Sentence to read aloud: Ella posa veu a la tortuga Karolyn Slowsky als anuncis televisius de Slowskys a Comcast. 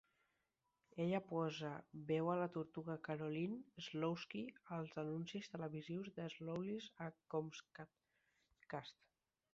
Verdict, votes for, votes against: rejected, 2, 4